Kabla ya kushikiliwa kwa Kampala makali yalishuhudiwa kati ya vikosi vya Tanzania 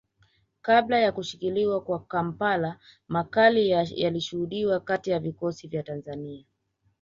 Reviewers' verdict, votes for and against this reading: rejected, 0, 2